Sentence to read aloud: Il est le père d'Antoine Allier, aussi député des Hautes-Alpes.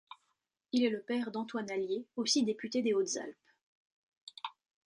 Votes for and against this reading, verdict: 2, 0, accepted